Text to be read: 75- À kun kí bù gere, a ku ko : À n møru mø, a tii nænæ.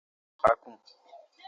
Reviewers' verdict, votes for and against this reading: rejected, 0, 2